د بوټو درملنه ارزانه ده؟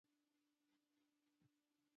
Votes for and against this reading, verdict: 0, 2, rejected